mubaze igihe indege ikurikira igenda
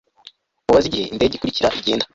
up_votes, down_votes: 1, 2